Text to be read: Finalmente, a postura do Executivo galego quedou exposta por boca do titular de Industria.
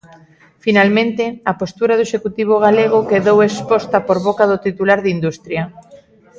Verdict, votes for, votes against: rejected, 1, 2